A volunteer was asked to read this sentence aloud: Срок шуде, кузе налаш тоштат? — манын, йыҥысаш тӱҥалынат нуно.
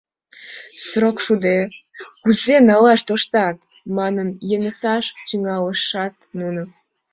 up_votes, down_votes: 0, 2